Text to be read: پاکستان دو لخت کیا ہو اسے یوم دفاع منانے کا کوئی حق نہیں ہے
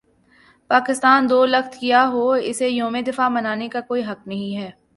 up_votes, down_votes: 4, 0